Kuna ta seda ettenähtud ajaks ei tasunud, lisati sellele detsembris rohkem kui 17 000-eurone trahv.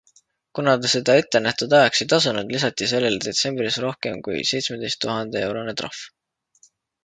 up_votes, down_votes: 0, 2